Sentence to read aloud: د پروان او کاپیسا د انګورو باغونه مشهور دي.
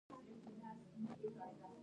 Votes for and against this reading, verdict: 1, 2, rejected